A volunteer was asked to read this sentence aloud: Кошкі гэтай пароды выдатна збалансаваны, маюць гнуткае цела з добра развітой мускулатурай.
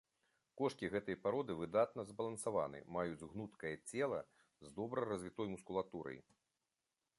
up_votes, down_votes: 2, 0